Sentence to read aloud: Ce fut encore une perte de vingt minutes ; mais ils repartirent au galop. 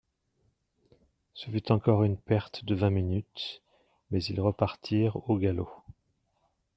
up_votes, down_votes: 2, 1